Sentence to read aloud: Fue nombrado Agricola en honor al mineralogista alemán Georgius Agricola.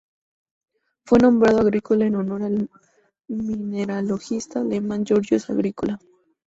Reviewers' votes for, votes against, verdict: 2, 0, accepted